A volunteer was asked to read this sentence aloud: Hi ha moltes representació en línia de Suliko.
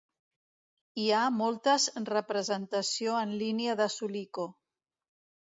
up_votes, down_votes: 2, 0